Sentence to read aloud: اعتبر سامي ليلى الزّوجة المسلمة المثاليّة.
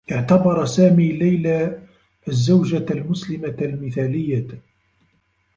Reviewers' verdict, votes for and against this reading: rejected, 0, 2